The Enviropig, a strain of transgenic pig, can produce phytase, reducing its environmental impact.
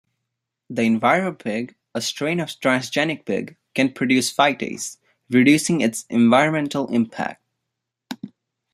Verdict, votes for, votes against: accepted, 2, 0